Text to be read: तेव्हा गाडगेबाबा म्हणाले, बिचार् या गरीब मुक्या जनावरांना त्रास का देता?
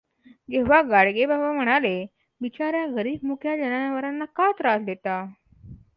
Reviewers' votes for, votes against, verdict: 2, 0, accepted